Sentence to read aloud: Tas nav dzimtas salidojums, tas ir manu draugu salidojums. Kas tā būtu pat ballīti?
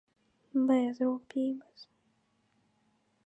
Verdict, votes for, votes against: rejected, 0, 2